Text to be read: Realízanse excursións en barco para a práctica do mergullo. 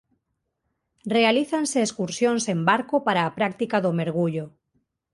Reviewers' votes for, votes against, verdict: 3, 0, accepted